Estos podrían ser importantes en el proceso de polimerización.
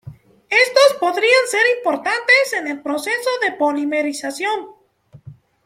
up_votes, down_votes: 0, 2